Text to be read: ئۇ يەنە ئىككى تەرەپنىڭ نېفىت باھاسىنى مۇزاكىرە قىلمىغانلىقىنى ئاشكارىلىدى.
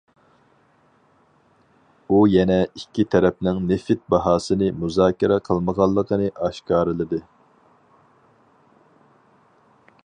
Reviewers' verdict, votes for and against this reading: accepted, 4, 0